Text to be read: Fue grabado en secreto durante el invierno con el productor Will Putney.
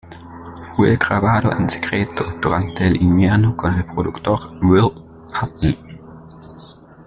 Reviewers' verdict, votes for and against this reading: rejected, 0, 2